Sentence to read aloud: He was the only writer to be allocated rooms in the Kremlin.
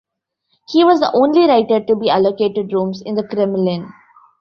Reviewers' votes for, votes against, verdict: 0, 2, rejected